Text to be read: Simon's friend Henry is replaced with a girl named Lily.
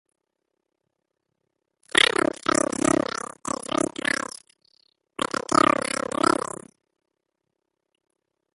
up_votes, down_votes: 0, 2